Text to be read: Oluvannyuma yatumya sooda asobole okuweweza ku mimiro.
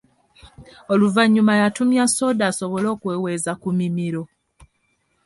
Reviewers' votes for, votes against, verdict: 2, 0, accepted